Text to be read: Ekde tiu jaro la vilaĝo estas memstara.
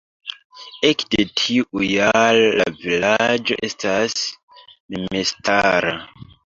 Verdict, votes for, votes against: rejected, 0, 2